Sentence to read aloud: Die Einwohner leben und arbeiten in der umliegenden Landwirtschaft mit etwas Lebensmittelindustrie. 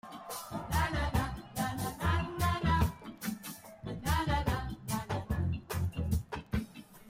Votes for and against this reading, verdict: 0, 2, rejected